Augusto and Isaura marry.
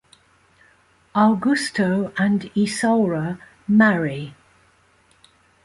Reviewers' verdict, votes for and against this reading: accepted, 2, 0